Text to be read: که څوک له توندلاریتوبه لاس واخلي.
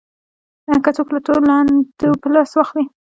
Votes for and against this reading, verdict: 2, 1, accepted